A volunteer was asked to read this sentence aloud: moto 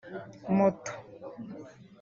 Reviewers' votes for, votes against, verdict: 1, 2, rejected